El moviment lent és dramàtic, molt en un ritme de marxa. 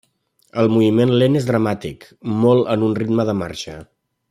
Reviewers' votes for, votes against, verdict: 3, 0, accepted